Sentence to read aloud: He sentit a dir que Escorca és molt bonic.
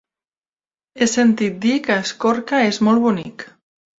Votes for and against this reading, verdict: 1, 2, rejected